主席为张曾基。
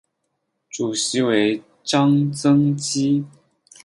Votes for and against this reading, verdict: 4, 0, accepted